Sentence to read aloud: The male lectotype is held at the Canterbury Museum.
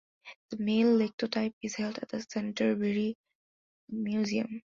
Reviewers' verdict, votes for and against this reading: accepted, 2, 1